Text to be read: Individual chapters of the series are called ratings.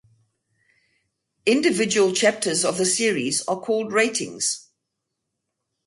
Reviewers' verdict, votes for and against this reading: accepted, 4, 0